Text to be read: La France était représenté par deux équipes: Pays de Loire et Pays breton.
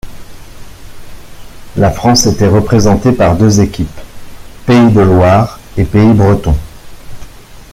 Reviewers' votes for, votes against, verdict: 2, 0, accepted